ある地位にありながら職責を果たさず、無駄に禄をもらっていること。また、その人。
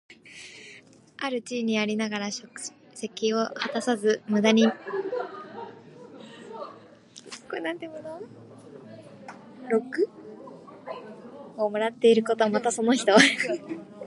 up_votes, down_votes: 1, 2